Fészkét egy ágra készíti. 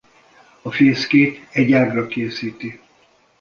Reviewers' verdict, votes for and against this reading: rejected, 0, 2